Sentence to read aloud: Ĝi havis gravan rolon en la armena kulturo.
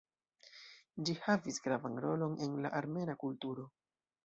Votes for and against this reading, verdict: 1, 2, rejected